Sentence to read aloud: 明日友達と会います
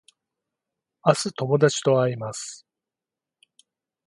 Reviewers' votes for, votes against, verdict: 4, 0, accepted